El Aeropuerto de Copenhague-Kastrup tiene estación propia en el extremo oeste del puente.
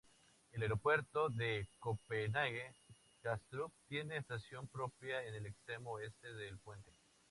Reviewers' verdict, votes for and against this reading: accepted, 4, 0